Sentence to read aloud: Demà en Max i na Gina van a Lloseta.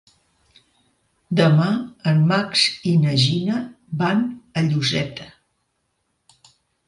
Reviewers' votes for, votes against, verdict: 2, 0, accepted